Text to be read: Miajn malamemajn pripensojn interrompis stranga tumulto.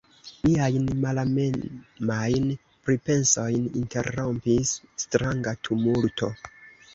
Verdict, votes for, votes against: accepted, 2, 1